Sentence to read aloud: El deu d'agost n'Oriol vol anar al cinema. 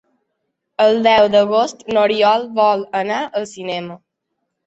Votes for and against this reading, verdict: 2, 0, accepted